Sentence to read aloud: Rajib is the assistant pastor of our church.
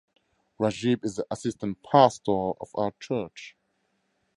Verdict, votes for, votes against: accepted, 2, 0